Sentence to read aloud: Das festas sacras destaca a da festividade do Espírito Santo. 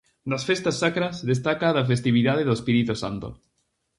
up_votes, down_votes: 2, 2